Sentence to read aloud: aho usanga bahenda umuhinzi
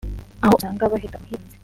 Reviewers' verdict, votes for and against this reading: rejected, 0, 2